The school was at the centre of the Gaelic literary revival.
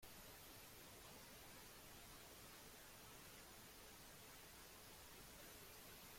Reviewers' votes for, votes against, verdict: 0, 2, rejected